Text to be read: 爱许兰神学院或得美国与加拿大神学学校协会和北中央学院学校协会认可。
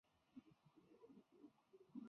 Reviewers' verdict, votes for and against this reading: rejected, 1, 3